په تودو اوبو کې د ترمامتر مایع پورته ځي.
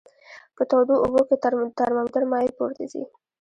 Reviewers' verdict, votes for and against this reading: rejected, 1, 2